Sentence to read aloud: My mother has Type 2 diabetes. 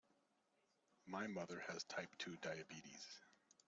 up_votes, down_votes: 0, 2